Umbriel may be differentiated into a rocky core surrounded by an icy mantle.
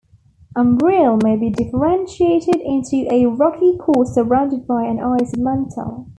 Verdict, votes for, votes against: accepted, 2, 1